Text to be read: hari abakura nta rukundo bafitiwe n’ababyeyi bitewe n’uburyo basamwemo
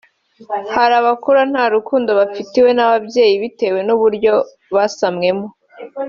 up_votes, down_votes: 2, 1